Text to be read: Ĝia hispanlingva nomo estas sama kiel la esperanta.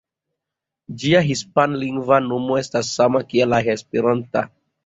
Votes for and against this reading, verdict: 3, 0, accepted